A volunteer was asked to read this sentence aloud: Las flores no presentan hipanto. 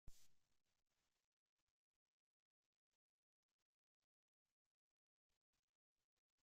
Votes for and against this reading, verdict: 0, 2, rejected